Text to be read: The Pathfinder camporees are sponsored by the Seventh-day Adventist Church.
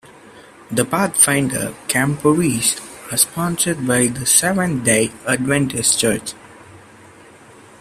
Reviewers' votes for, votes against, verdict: 2, 0, accepted